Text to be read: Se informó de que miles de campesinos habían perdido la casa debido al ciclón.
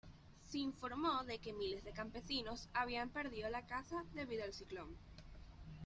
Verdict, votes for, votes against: accepted, 2, 0